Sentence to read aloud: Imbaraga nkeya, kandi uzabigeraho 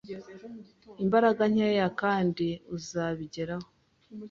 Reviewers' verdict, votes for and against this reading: accepted, 2, 0